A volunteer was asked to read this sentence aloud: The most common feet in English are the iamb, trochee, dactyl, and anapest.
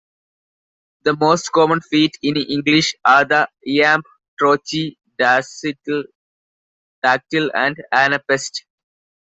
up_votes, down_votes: 1, 2